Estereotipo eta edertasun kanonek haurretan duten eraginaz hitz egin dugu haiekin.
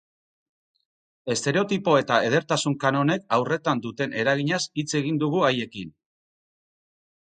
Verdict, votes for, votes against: accepted, 2, 0